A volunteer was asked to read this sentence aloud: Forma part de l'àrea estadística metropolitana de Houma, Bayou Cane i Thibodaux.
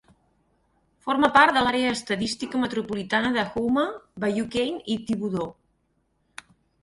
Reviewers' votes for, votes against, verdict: 4, 0, accepted